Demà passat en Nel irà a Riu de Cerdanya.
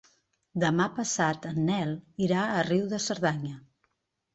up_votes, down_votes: 3, 0